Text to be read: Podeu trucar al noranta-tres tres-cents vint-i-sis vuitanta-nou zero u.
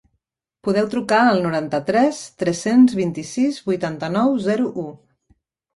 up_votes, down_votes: 3, 0